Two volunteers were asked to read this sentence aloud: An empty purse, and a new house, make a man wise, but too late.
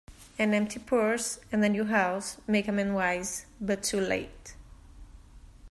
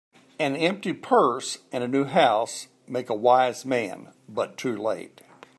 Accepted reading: first